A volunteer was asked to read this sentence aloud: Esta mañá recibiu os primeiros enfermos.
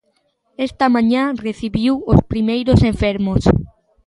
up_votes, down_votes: 2, 0